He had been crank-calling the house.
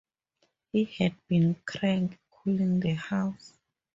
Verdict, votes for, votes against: accepted, 2, 0